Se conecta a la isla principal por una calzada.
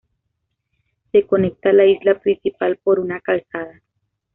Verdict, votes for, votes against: accepted, 2, 0